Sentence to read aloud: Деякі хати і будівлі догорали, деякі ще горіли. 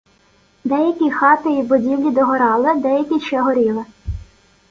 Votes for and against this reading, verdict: 1, 2, rejected